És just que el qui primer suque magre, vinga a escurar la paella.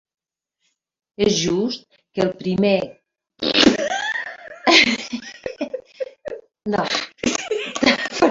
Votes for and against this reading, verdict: 0, 2, rejected